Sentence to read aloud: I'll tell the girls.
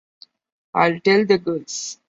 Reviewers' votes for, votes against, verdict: 0, 2, rejected